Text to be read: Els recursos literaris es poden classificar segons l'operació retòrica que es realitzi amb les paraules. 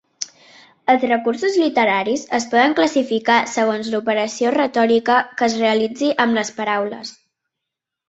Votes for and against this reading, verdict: 2, 0, accepted